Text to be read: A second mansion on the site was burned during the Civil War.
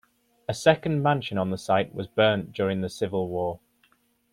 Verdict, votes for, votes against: rejected, 0, 2